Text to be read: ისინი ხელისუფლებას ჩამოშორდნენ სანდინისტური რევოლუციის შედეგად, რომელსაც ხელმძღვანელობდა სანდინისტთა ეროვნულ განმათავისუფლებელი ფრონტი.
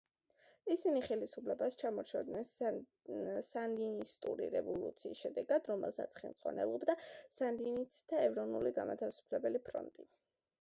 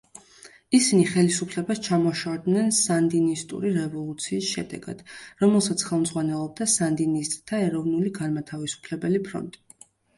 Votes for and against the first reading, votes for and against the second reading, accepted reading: 1, 2, 2, 0, second